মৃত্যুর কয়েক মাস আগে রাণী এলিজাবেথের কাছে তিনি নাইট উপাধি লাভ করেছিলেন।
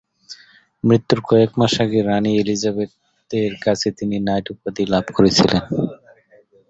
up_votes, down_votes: 2, 1